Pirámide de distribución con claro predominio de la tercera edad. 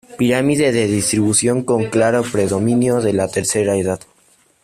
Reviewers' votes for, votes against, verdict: 2, 0, accepted